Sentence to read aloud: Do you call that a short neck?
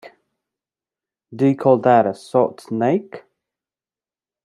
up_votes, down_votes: 1, 2